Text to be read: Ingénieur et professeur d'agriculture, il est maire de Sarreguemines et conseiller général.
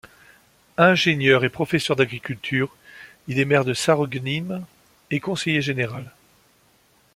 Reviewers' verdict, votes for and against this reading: rejected, 0, 2